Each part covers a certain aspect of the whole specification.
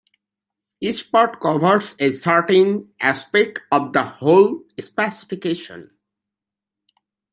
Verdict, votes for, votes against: accepted, 2, 0